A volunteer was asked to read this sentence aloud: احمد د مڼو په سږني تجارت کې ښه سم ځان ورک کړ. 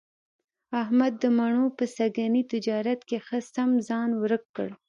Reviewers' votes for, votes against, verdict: 2, 0, accepted